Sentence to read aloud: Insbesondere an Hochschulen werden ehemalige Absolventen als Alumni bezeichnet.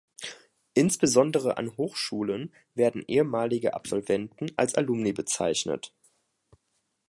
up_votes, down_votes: 2, 0